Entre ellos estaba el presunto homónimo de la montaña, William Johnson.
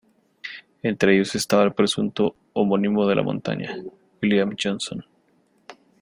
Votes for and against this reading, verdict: 2, 0, accepted